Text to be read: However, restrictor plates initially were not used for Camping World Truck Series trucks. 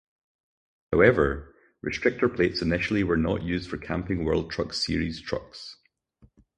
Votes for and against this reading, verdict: 4, 0, accepted